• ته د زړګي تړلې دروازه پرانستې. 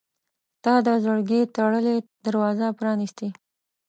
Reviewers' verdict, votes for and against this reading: accepted, 2, 0